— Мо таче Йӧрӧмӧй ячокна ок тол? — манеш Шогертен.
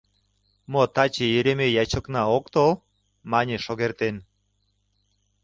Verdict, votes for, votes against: rejected, 0, 2